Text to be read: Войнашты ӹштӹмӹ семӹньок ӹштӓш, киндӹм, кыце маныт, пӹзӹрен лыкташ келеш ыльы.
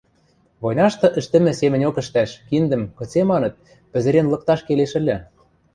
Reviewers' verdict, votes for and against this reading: accepted, 2, 0